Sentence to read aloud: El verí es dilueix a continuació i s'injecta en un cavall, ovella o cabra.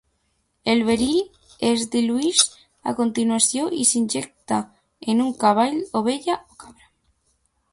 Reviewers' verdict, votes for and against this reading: rejected, 0, 2